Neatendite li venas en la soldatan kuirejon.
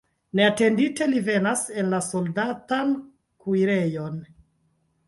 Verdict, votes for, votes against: rejected, 1, 2